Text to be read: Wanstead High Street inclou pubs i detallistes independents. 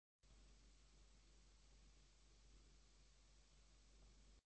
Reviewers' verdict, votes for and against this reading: rejected, 1, 2